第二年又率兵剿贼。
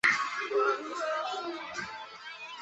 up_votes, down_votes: 0, 3